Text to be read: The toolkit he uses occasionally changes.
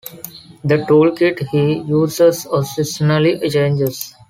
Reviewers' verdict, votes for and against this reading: rejected, 0, 2